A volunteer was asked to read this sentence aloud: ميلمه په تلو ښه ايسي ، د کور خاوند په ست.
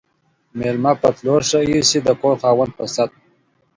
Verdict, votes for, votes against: accepted, 2, 0